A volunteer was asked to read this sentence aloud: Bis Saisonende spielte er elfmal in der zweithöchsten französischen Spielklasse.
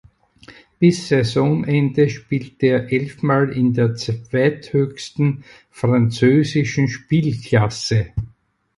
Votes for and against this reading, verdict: 2, 4, rejected